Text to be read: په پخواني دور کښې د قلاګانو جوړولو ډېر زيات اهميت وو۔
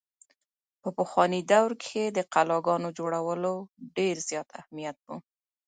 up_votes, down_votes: 2, 1